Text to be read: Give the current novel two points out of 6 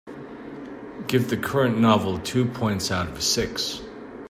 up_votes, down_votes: 0, 2